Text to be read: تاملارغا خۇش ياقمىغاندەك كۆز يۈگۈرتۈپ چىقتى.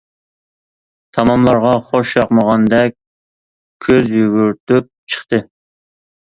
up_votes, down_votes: 0, 2